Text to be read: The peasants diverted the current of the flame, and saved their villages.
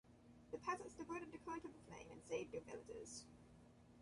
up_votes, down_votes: 1, 2